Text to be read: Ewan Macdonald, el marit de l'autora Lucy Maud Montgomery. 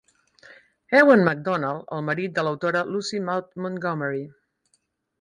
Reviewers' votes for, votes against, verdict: 6, 0, accepted